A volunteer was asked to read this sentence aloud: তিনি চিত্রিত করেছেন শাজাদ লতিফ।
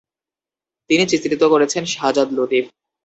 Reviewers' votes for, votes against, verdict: 0, 2, rejected